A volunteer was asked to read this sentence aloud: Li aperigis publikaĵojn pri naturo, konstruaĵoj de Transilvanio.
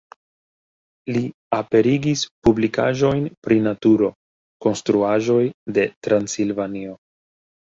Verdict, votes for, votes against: accepted, 2, 0